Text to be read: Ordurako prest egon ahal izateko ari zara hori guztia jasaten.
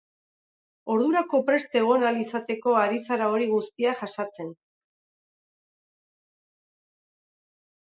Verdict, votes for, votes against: rejected, 2, 2